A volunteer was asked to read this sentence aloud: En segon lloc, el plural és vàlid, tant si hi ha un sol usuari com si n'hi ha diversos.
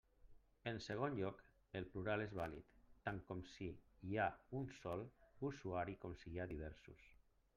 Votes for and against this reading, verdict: 1, 2, rejected